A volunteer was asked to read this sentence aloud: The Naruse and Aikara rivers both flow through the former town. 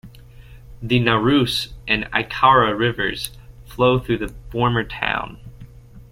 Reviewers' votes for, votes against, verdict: 1, 2, rejected